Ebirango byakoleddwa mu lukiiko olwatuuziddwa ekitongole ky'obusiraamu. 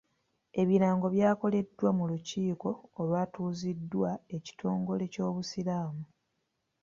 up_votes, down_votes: 2, 0